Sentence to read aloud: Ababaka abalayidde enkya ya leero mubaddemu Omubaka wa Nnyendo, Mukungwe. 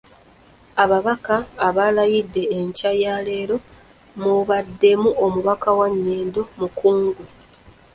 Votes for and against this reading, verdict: 2, 1, accepted